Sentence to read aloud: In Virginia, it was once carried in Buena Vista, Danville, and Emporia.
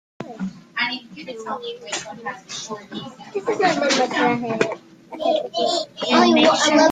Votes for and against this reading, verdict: 0, 2, rejected